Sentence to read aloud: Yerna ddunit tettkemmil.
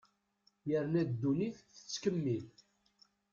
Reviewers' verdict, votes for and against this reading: accepted, 2, 0